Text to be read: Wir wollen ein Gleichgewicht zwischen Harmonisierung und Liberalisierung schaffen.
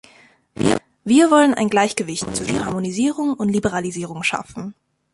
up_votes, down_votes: 1, 2